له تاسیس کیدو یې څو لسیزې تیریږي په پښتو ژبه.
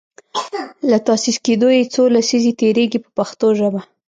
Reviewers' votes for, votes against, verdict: 1, 2, rejected